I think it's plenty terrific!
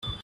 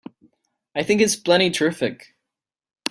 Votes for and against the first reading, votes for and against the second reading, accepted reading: 0, 2, 3, 0, second